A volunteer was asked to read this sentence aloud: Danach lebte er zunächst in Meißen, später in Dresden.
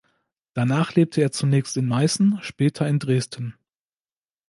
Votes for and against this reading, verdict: 2, 0, accepted